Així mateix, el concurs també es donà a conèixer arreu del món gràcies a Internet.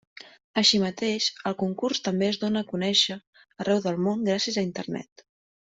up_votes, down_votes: 1, 2